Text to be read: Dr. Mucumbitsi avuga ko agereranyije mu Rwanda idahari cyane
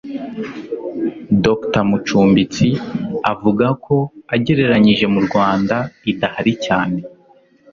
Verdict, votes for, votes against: accepted, 2, 0